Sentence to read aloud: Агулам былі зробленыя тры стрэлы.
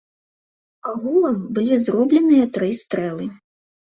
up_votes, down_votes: 2, 0